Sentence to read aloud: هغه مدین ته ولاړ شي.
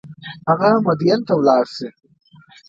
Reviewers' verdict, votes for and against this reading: accepted, 2, 0